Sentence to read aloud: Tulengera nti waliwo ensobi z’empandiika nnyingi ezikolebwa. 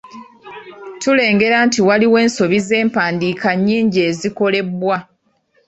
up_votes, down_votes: 2, 0